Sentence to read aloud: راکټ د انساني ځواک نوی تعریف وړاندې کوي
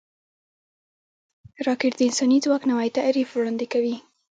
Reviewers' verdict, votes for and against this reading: rejected, 0, 2